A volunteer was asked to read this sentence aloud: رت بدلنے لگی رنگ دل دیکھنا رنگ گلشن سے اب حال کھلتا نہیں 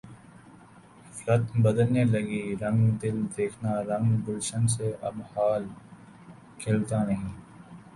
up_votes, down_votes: 1, 4